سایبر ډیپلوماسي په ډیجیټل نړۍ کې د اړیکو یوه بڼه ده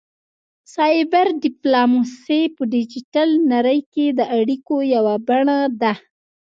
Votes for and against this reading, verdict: 2, 0, accepted